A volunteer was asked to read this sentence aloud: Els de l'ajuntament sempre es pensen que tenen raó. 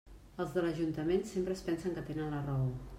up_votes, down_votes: 1, 2